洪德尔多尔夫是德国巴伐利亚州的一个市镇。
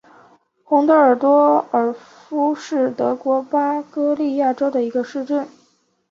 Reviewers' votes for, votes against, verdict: 1, 2, rejected